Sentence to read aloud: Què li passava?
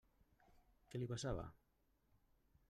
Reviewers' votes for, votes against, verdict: 0, 2, rejected